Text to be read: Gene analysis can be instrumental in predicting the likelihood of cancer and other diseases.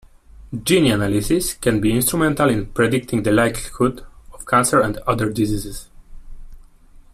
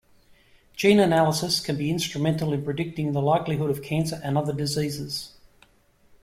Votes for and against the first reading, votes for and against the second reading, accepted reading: 1, 2, 2, 0, second